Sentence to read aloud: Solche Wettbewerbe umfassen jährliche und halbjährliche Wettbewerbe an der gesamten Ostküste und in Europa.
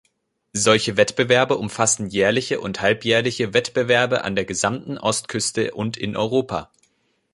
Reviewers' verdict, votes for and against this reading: accepted, 2, 0